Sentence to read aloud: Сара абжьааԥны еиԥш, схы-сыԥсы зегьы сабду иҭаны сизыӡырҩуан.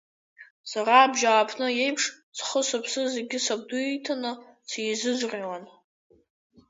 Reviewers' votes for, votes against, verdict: 2, 1, accepted